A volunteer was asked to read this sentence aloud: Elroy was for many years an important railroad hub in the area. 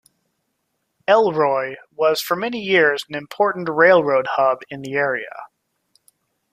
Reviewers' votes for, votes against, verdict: 3, 0, accepted